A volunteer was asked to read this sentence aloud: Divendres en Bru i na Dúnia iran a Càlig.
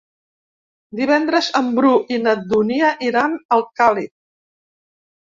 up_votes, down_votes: 0, 2